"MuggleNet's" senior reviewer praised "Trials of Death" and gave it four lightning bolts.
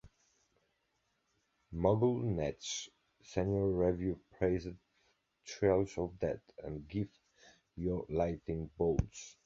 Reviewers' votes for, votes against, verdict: 1, 2, rejected